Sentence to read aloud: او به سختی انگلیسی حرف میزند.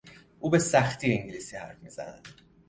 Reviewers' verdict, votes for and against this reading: accepted, 2, 0